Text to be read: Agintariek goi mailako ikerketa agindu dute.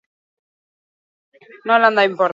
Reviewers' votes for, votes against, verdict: 0, 2, rejected